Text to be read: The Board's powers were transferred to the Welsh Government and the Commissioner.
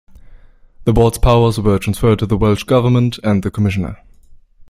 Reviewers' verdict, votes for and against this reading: accepted, 2, 0